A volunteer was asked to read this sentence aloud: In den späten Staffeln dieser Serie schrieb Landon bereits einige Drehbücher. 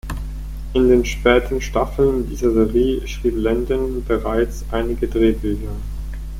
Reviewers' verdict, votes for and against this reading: rejected, 0, 4